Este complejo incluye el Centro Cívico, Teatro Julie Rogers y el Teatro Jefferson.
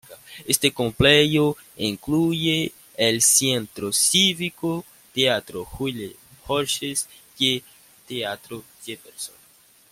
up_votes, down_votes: 2, 1